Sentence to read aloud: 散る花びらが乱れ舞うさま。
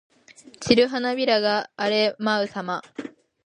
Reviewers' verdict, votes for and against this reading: rejected, 1, 2